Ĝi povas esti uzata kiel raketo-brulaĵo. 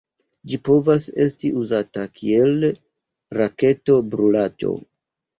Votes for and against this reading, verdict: 2, 0, accepted